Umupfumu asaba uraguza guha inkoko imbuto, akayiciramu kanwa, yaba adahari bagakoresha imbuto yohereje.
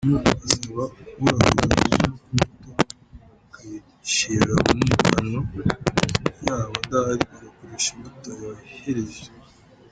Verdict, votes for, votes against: rejected, 0, 2